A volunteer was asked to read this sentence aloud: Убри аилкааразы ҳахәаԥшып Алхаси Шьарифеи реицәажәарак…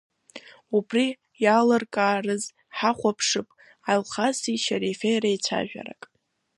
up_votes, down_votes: 2, 1